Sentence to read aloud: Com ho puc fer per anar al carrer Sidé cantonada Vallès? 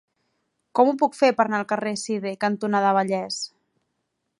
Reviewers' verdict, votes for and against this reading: accepted, 3, 0